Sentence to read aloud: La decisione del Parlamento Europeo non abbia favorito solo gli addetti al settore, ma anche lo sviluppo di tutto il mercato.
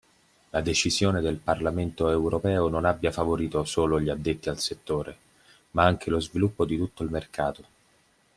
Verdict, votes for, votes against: accepted, 2, 0